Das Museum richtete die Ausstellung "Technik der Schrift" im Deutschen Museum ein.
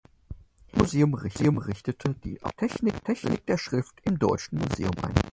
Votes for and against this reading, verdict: 0, 4, rejected